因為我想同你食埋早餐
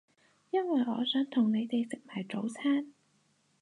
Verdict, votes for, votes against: rejected, 0, 4